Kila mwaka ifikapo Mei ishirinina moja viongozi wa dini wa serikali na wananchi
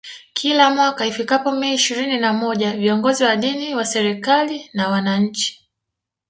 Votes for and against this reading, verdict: 2, 0, accepted